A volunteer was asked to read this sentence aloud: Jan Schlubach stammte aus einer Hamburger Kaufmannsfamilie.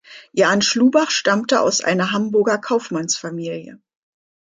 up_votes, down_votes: 2, 0